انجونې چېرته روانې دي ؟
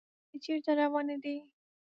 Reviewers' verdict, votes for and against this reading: rejected, 0, 2